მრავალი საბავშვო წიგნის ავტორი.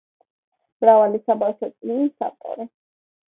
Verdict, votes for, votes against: accepted, 2, 0